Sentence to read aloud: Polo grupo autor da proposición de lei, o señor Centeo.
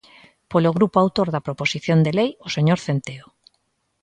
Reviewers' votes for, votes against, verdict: 2, 0, accepted